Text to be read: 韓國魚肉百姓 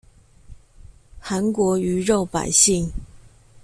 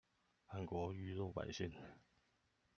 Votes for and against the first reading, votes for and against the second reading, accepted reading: 2, 0, 0, 2, first